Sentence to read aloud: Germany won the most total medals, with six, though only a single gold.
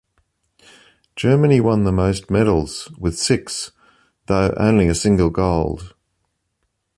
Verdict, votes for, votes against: rejected, 2, 3